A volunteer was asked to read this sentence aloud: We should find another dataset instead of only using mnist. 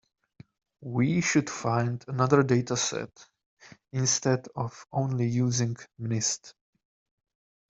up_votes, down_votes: 2, 0